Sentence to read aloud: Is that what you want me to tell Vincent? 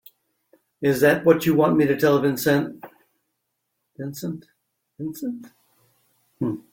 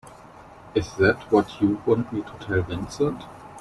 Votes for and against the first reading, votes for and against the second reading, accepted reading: 1, 2, 2, 1, second